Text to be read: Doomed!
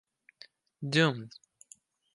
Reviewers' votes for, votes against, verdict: 4, 0, accepted